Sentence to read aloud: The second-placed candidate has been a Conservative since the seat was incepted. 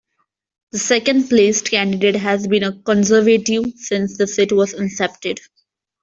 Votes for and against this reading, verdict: 2, 1, accepted